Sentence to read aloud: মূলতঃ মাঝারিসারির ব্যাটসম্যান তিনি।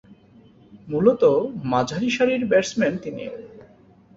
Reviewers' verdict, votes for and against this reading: accepted, 7, 1